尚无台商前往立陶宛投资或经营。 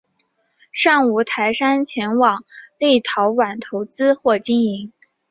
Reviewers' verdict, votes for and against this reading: accepted, 3, 1